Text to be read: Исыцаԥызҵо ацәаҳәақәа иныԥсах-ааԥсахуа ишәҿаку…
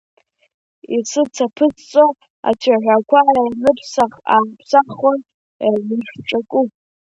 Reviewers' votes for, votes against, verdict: 1, 2, rejected